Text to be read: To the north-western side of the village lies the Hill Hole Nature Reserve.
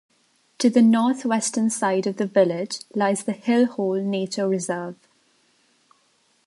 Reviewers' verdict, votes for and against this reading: accepted, 2, 0